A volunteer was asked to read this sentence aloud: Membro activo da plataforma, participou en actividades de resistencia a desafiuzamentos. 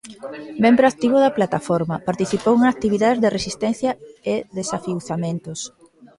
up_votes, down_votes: 0, 2